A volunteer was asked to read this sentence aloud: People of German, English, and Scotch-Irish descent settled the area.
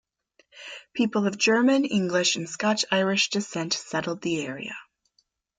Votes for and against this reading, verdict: 2, 0, accepted